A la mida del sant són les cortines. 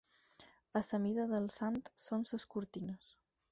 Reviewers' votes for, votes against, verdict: 2, 4, rejected